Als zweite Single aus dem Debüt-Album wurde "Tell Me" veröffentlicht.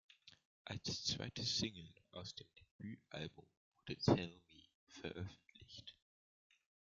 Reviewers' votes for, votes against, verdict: 1, 2, rejected